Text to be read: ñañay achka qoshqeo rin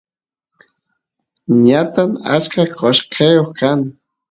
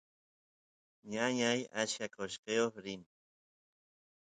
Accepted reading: second